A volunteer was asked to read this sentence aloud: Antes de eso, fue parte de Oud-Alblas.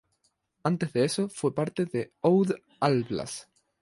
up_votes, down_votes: 0, 2